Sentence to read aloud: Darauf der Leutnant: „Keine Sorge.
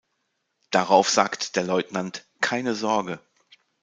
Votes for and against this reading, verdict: 0, 2, rejected